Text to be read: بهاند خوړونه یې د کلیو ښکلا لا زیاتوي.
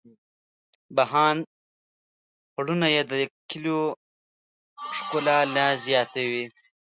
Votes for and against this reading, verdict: 0, 2, rejected